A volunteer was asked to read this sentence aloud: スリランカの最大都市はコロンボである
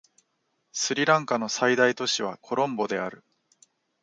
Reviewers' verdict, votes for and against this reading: accepted, 2, 1